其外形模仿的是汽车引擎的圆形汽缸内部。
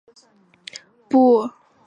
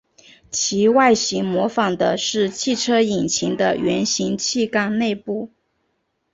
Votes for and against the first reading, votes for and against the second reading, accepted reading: 0, 3, 2, 0, second